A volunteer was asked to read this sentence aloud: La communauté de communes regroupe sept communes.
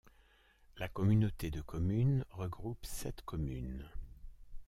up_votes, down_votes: 2, 0